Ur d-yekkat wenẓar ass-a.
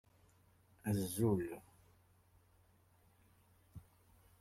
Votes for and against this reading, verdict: 0, 2, rejected